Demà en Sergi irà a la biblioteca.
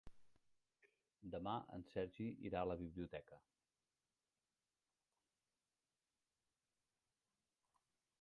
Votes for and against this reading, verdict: 0, 2, rejected